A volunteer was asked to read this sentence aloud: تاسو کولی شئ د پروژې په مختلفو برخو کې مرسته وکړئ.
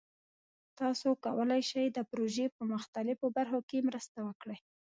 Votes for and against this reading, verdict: 1, 2, rejected